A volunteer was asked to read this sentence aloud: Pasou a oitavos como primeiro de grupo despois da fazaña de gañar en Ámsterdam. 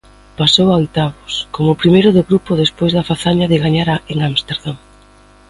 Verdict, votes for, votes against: rejected, 1, 2